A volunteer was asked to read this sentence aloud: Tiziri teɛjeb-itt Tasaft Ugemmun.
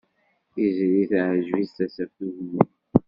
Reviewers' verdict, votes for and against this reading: rejected, 1, 2